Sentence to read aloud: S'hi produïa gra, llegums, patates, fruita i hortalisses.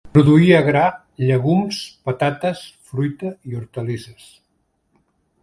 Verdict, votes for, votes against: rejected, 1, 2